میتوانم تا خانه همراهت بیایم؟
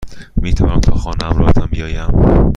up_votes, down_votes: 1, 2